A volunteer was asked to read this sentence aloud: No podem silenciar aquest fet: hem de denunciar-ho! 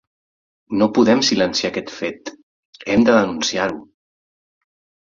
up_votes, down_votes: 4, 0